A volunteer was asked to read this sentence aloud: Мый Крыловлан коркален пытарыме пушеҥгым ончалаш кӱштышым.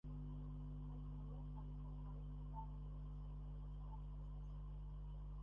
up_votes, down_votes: 0, 2